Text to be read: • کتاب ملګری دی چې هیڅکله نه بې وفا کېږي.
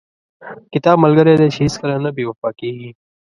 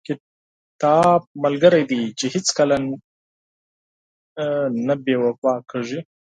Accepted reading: first